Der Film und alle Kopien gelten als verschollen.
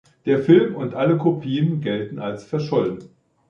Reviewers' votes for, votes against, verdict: 2, 0, accepted